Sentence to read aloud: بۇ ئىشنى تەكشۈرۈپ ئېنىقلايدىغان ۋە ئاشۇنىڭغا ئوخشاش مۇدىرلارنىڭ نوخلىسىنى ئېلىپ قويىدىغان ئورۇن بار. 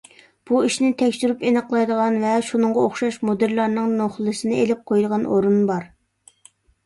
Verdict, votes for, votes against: rejected, 1, 2